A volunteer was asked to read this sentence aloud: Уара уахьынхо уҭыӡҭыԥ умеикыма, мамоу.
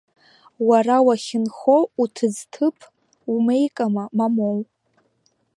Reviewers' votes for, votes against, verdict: 0, 2, rejected